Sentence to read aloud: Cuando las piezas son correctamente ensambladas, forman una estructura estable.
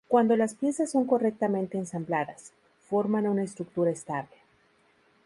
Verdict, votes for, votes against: rejected, 0, 2